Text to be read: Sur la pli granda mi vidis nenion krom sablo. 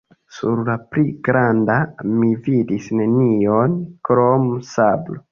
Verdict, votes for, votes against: accepted, 2, 1